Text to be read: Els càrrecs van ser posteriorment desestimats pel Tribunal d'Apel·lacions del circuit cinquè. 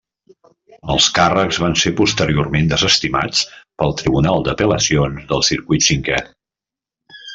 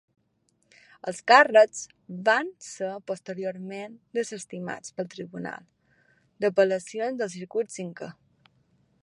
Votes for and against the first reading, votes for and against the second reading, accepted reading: 1, 2, 2, 0, second